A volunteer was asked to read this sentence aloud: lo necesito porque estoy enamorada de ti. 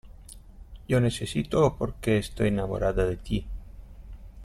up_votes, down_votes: 1, 2